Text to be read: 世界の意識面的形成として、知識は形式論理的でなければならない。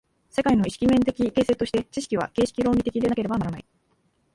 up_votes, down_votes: 19, 15